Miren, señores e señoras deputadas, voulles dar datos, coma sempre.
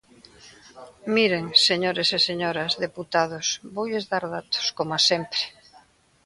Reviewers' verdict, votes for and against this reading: rejected, 1, 2